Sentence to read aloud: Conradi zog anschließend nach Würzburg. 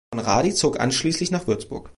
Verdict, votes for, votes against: rejected, 1, 3